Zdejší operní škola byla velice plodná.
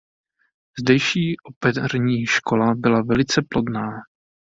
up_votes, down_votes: 1, 2